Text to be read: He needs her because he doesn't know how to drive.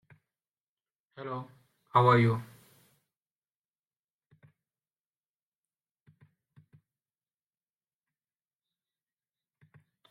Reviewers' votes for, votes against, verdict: 0, 2, rejected